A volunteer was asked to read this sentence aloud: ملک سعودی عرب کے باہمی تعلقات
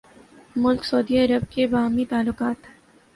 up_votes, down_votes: 2, 0